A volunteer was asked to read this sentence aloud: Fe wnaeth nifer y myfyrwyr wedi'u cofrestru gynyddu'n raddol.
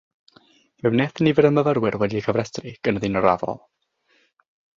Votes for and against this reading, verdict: 6, 0, accepted